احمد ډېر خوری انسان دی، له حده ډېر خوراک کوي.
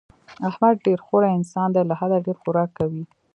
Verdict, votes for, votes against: accepted, 2, 1